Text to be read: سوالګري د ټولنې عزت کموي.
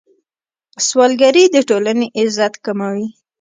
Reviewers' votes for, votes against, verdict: 0, 2, rejected